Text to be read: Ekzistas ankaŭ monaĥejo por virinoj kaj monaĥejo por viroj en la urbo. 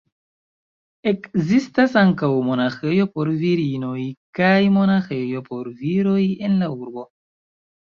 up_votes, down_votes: 2, 1